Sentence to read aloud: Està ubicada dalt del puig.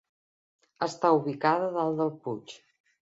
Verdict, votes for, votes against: accepted, 2, 0